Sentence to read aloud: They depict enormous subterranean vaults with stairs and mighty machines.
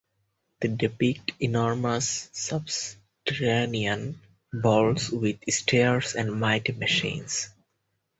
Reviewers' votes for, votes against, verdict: 0, 4, rejected